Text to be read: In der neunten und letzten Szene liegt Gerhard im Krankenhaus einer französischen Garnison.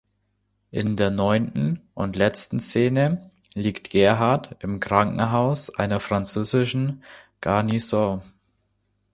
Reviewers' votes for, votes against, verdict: 2, 1, accepted